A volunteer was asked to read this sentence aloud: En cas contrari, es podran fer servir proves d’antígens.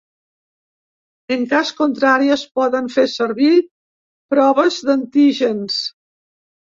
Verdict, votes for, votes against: rejected, 1, 2